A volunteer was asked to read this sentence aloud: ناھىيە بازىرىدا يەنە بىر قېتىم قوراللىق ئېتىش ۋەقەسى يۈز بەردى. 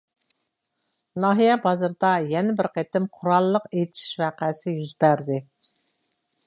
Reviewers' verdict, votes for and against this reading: accepted, 2, 0